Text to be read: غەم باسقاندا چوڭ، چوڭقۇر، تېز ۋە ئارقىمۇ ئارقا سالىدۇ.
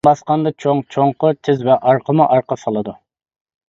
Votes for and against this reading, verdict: 1, 2, rejected